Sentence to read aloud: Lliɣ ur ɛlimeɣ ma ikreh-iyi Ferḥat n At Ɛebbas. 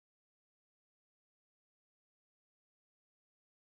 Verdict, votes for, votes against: rejected, 0, 2